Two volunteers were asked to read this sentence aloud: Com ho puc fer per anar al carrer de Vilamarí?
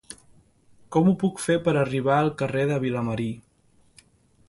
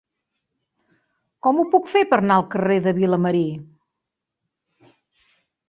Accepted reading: second